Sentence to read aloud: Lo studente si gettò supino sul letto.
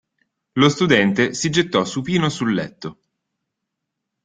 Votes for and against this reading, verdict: 2, 0, accepted